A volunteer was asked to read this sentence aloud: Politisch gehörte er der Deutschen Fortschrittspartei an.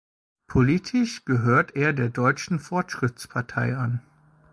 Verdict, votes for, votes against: rejected, 1, 2